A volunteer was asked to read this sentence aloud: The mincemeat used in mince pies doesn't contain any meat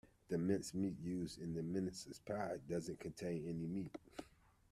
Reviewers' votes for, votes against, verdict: 1, 2, rejected